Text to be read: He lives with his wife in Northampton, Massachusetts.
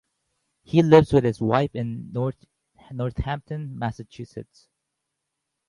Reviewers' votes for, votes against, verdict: 2, 2, rejected